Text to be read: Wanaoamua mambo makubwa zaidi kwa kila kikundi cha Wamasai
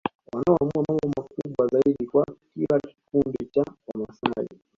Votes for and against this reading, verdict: 2, 1, accepted